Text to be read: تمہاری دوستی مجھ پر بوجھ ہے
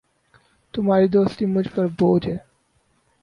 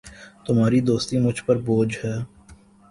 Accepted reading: second